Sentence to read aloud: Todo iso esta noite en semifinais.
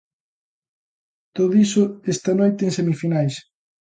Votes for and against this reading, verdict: 2, 0, accepted